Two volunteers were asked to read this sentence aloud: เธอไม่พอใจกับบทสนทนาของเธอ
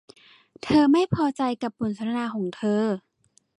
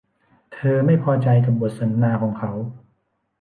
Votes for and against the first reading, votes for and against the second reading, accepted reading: 2, 0, 0, 2, first